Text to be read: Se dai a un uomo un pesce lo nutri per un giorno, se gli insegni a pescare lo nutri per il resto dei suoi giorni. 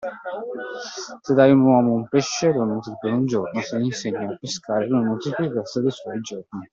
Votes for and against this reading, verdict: 3, 1, accepted